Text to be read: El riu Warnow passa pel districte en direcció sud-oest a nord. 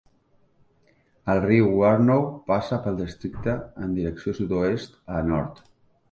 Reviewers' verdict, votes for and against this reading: accepted, 2, 1